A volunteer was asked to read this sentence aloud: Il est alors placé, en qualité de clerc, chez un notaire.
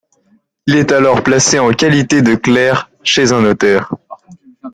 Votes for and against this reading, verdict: 1, 2, rejected